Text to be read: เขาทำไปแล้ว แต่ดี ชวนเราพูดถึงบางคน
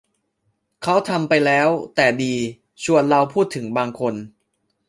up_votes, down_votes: 2, 1